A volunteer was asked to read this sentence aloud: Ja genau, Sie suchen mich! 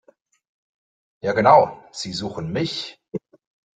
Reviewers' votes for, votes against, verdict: 2, 0, accepted